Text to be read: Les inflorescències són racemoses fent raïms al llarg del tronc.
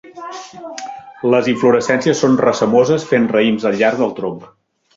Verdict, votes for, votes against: rejected, 1, 2